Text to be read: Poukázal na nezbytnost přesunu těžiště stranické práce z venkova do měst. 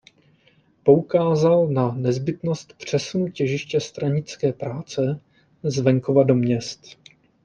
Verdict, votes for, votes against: accepted, 2, 0